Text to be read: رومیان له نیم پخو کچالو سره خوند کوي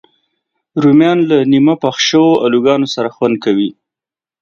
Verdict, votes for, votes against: rejected, 1, 2